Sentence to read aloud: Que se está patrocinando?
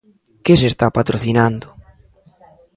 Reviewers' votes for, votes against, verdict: 2, 0, accepted